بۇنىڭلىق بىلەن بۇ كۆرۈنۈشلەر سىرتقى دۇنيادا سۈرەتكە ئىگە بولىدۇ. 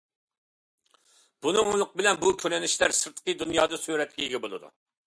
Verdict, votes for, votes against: accepted, 2, 0